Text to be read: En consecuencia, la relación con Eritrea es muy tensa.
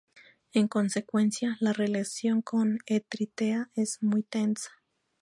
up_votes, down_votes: 0, 4